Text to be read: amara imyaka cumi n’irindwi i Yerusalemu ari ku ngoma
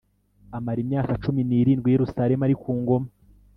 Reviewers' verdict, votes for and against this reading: accepted, 2, 0